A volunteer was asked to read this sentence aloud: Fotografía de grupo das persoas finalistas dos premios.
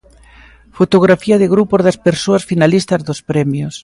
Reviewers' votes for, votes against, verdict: 2, 0, accepted